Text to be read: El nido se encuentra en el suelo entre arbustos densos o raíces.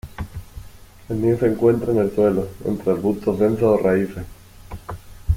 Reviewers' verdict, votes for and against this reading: accepted, 2, 1